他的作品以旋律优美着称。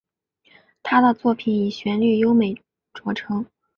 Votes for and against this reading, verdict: 5, 0, accepted